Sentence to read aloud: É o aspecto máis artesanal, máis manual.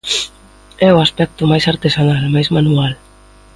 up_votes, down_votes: 2, 0